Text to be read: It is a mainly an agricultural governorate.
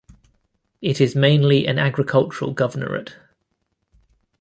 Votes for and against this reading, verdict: 0, 2, rejected